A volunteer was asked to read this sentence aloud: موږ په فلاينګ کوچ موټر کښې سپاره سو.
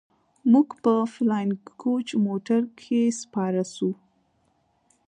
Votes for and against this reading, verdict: 2, 0, accepted